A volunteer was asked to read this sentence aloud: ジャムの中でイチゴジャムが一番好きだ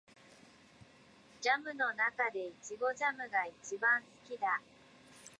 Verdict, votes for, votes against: rejected, 0, 2